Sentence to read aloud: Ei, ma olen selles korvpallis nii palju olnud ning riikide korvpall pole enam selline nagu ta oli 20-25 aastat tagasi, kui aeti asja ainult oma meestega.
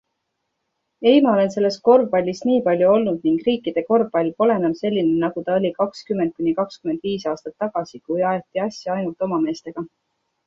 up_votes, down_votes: 0, 2